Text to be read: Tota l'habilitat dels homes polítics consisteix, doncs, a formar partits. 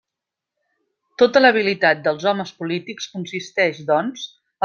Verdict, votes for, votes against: rejected, 0, 2